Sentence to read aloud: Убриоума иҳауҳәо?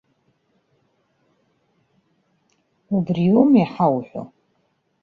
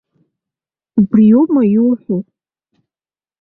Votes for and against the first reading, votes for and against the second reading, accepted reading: 2, 0, 0, 2, first